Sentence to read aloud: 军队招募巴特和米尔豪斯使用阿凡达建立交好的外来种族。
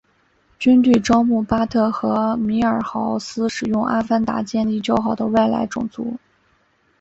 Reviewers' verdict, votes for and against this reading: accepted, 2, 0